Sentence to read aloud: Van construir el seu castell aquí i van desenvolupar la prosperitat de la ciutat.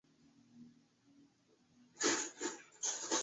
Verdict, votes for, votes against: rejected, 0, 2